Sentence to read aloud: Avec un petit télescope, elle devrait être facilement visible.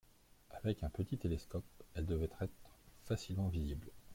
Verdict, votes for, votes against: rejected, 0, 2